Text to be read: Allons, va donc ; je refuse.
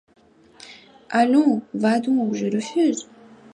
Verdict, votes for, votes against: accepted, 2, 0